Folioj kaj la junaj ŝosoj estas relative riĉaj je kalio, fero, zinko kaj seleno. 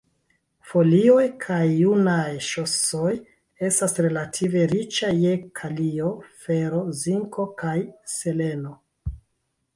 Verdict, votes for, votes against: rejected, 1, 2